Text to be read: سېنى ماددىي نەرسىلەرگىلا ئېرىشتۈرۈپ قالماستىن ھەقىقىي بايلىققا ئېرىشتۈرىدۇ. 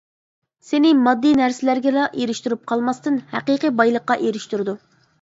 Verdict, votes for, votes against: accepted, 2, 0